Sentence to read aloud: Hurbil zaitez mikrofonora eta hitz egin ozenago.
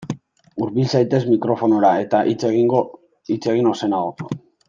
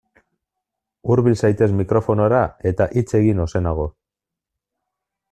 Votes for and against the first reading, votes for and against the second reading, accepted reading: 0, 2, 2, 0, second